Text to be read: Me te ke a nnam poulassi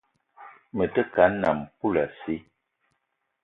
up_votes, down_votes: 2, 0